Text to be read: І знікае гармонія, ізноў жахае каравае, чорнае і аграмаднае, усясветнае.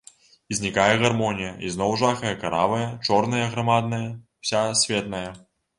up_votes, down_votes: 0, 2